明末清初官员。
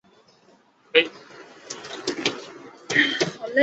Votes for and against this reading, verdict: 0, 2, rejected